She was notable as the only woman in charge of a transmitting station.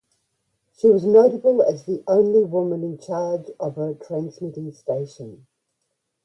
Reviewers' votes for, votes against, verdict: 2, 0, accepted